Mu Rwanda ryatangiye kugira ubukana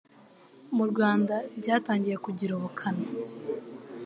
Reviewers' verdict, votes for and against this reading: accepted, 2, 0